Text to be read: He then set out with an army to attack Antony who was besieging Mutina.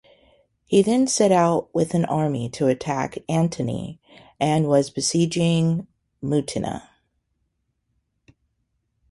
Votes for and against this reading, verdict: 2, 0, accepted